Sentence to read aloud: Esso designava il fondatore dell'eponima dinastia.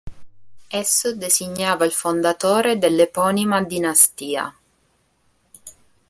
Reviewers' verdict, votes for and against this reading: accepted, 2, 0